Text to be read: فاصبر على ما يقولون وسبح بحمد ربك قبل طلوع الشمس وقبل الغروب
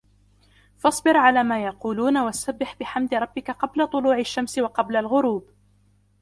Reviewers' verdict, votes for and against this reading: accepted, 2, 0